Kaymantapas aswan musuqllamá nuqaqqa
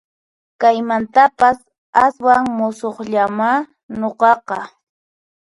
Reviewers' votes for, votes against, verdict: 2, 4, rejected